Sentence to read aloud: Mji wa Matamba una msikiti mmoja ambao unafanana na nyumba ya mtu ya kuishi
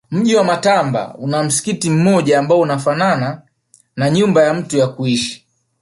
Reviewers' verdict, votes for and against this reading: accepted, 2, 0